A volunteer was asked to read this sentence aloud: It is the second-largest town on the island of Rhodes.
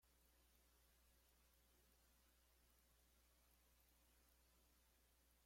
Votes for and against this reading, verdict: 0, 2, rejected